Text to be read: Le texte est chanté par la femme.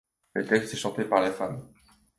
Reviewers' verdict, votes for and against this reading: accepted, 2, 0